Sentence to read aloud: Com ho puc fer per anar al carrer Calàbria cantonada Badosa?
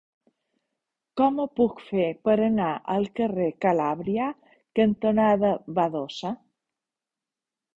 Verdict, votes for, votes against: rejected, 1, 2